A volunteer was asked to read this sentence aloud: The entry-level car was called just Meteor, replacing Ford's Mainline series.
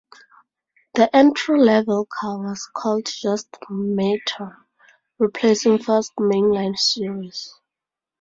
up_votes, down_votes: 0, 2